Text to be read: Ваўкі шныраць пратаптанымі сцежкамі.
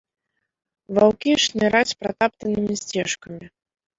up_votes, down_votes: 1, 2